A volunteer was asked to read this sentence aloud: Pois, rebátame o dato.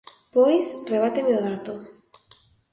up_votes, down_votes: 0, 2